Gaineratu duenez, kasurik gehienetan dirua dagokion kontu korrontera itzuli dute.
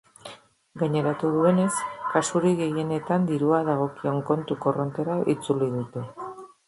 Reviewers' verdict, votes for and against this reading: accepted, 2, 0